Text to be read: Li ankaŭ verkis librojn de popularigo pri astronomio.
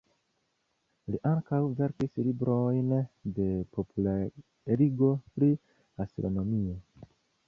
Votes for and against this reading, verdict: 2, 3, rejected